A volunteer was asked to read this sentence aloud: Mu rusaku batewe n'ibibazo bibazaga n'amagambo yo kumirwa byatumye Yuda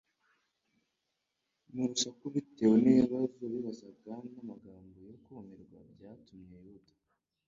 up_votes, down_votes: 1, 2